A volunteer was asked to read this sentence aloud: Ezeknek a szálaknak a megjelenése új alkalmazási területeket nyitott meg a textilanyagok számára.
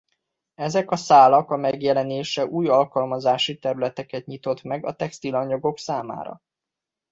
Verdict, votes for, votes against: rejected, 0, 2